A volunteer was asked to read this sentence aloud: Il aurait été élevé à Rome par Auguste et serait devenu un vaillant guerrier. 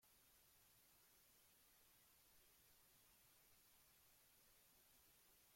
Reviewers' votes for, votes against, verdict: 0, 2, rejected